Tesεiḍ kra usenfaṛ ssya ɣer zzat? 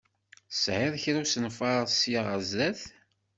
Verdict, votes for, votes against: accepted, 2, 0